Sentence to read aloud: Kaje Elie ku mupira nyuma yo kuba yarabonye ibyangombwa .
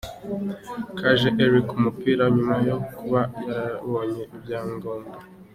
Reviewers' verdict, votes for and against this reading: accepted, 2, 0